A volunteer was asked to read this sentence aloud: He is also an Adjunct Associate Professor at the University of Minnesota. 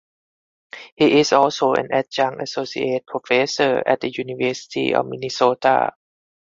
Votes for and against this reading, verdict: 4, 2, accepted